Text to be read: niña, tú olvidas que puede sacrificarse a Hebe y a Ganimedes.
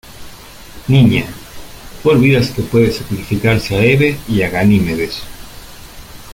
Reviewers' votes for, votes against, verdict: 2, 0, accepted